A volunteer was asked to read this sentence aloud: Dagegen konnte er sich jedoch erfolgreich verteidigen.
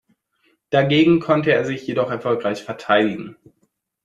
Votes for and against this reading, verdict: 2, 0, accepted